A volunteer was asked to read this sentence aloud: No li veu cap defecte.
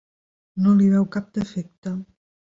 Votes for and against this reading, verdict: 3, 0, accepted